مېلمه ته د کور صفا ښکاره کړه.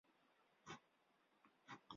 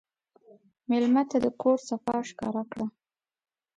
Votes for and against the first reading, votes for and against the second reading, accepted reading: 1, 2, 2, 0, second